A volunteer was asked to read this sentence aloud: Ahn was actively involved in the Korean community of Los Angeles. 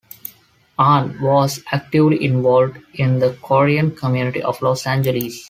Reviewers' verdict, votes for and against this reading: accepted, 2, 0